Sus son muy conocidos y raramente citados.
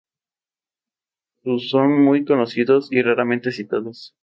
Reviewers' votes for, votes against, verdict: 2, 0, accepted